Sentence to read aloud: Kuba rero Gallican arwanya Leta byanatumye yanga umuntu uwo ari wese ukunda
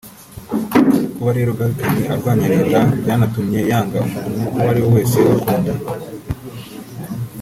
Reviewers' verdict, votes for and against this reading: rejected, 1, 2